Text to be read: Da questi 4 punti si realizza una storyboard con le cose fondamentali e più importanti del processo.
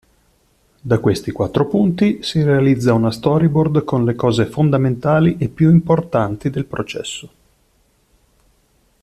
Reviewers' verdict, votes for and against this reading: rejected, 0, 2